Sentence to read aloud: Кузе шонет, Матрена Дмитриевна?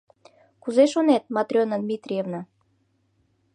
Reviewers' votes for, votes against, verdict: 2, 0, accepted